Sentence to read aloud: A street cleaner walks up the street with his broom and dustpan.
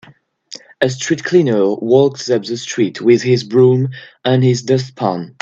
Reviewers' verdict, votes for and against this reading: rejected, 0, 2